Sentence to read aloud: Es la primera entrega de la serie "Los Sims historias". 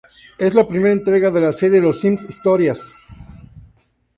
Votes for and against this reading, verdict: 2, 0, accepted